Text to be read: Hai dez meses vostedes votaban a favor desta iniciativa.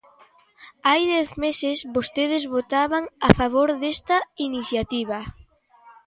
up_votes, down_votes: 2, 0